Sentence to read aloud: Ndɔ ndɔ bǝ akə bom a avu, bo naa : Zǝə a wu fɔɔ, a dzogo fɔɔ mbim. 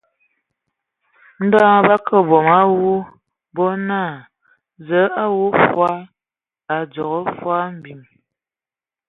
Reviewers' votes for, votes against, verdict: 2, 1, accepted